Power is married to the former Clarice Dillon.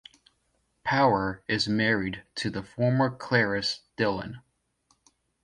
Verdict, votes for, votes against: accepted, 2, 0